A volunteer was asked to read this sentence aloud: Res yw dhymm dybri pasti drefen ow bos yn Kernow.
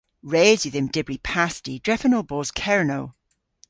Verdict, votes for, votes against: rejected, 0, 2